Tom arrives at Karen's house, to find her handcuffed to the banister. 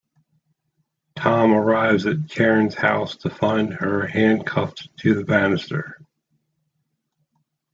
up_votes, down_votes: 2, 1